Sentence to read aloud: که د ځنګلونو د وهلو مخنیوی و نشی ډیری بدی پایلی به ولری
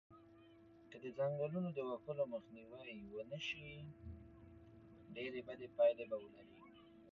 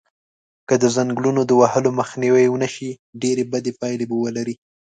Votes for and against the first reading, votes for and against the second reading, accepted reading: 0, 2, 2, 0, second